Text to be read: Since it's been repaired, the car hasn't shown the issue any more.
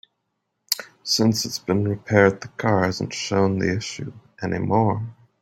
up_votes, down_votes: 3, 0